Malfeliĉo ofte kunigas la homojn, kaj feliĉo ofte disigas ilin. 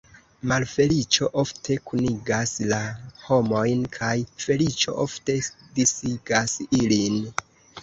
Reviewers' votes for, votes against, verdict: 0, 2, rejected